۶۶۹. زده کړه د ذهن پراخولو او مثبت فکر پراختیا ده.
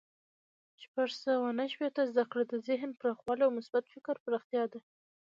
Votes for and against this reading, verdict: 0, 2, rejected